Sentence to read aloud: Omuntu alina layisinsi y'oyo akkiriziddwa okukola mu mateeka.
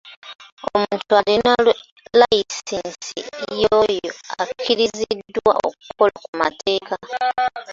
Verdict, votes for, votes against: rejected, 0, 2